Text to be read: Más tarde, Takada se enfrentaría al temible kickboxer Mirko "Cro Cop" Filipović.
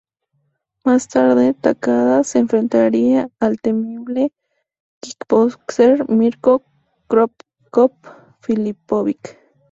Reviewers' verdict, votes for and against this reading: rejected, 0, 2